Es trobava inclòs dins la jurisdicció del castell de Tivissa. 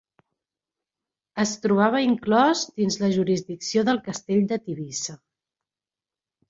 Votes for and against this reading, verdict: 3, 0, accepted